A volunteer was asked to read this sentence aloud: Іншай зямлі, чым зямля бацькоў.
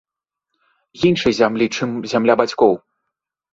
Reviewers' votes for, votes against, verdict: 2, 0, accepted